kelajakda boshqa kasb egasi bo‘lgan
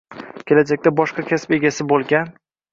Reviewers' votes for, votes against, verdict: 1, 2, rejected